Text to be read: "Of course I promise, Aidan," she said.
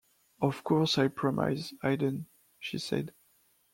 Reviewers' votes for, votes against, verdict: 0, 2, rejected